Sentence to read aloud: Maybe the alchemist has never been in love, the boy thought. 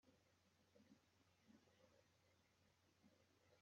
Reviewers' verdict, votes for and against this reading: rejected, 0, 2